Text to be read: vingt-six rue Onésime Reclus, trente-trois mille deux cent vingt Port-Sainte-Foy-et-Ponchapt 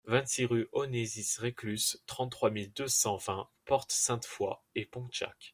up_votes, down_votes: 0, 2